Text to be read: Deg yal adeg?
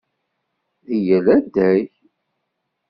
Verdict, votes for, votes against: rejected, 1, 2